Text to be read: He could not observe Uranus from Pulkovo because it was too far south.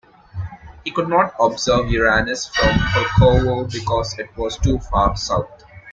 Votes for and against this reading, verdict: 0, 2, rejected